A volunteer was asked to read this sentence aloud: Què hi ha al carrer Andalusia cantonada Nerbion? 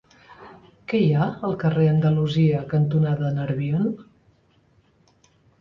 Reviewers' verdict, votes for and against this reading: accepted, 2, 0